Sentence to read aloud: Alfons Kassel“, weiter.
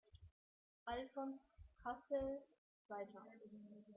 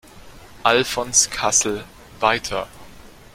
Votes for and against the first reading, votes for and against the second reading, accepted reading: 1, 2, 2, 0, second